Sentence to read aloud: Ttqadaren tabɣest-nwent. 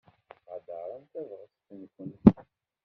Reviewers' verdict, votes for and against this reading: rejected, 1, 2